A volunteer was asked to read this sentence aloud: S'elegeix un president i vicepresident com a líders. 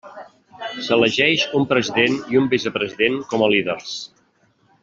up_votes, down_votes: 0, 2